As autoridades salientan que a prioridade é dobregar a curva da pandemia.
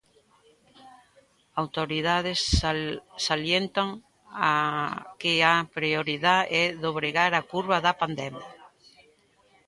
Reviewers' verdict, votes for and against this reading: rejected, 0, 2